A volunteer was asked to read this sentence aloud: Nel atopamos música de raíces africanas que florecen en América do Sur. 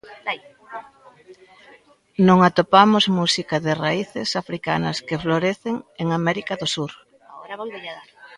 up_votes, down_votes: 0, 2